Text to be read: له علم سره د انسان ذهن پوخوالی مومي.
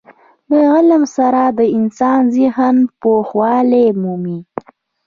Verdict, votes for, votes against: rejected, 1, 2